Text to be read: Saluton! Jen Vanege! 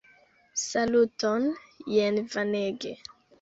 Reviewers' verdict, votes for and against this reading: accepted, 2, 0